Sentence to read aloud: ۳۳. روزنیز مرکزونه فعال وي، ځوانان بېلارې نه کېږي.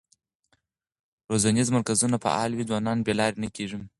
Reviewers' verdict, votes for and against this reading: rejected, 0, 2